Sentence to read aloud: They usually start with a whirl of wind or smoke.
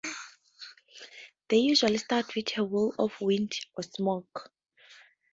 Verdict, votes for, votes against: rejected, 0, 2